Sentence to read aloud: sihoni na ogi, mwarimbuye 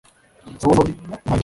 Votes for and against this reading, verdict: 1, 2, rejected